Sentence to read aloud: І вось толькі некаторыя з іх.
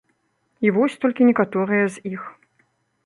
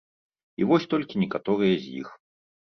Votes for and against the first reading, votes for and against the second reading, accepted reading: 1, 2, 2, 0, second